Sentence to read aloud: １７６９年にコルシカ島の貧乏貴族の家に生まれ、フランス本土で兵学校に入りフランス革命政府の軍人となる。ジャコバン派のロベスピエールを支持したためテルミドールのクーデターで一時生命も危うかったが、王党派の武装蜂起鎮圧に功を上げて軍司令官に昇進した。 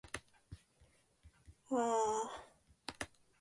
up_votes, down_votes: 0, 2